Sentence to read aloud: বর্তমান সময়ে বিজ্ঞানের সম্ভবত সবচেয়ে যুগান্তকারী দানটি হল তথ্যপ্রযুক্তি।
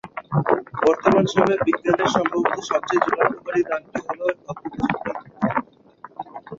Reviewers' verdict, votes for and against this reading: rejected, 4, 6